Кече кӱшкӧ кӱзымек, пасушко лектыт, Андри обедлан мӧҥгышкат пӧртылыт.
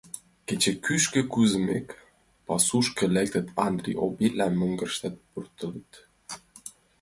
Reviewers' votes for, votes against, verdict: 1, 2, rejected